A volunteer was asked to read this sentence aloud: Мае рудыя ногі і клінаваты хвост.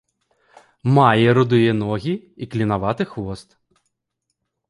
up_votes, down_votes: 2, 0